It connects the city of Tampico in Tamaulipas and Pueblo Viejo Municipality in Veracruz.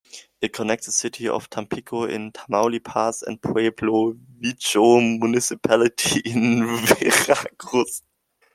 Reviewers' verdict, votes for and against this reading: rejected, 0, 2